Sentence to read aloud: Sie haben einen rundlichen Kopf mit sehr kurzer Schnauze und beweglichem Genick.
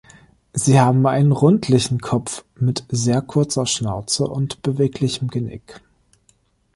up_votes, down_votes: 2, 0